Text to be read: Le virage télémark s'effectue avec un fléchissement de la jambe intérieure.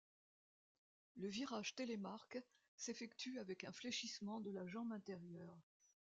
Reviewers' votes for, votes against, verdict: 2, 0, accepted